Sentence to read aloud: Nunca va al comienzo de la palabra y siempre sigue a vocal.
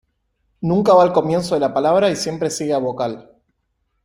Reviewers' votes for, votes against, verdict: 2, 0, accepted